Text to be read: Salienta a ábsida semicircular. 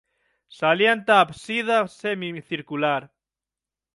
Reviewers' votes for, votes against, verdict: 3, 6, rejected